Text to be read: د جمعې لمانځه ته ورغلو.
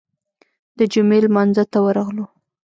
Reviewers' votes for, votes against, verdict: 1, 2, rejected